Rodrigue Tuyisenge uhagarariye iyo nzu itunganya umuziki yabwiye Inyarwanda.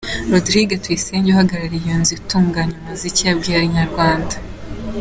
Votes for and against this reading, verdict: 2, 0, accepted